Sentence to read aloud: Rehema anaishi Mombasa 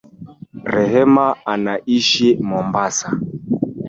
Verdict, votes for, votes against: accepted, 3, 1